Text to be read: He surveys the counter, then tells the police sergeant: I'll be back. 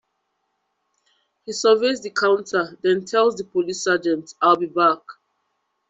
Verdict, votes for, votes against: accepted, 2, 1